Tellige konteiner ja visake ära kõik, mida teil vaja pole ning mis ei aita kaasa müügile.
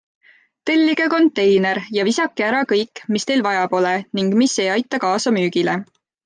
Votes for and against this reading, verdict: 2, 1, accepted